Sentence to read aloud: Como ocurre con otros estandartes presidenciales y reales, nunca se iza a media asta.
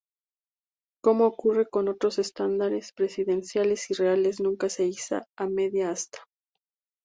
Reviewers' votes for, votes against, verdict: 2, 0, accepted